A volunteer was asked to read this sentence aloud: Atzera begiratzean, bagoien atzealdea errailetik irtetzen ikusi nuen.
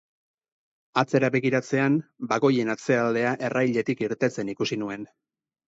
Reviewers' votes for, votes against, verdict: 4, 0, accepted